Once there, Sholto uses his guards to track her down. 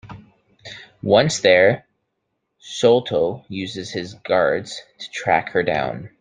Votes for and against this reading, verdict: 2, 0, accepted